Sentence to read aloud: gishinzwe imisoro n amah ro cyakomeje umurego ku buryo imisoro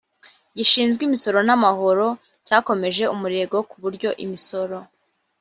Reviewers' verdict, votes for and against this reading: accepted, 2, 1